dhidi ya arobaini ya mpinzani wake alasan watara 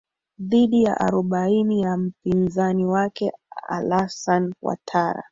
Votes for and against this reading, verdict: 4, 1, accepted